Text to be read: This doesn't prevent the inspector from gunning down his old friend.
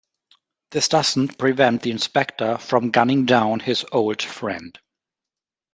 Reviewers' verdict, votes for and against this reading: accepted, 2, 0